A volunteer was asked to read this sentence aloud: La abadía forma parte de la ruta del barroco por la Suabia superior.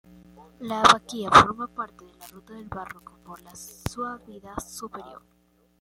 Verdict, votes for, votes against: accepted, 2, 1